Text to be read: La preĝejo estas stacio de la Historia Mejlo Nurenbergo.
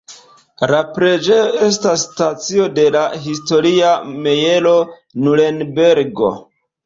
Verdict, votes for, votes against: rejected, 1, 2